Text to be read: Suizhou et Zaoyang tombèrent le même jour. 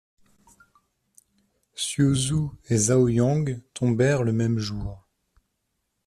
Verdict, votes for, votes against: rejected, 1, 2